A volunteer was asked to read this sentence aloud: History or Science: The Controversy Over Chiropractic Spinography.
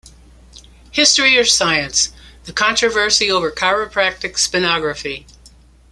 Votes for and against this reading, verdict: 2, 0, accepted